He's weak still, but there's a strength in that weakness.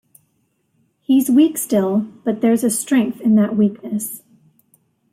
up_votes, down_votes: 2, 0